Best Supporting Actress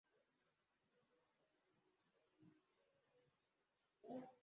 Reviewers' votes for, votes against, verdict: 0, 2, rejected